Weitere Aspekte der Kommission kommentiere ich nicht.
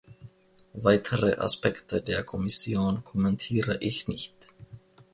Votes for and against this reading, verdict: 2, 0, accepted